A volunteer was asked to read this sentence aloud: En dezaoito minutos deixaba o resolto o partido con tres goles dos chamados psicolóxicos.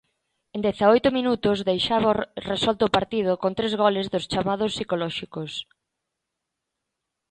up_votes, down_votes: 1, 2